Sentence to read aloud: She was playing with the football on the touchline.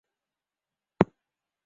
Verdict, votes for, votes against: rejected, 0, 2